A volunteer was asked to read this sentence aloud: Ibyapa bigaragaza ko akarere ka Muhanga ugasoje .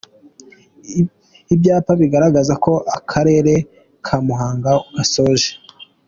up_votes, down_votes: 2, 0